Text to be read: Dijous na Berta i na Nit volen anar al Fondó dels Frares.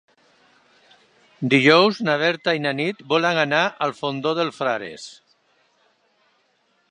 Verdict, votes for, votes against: accepted, 2, 0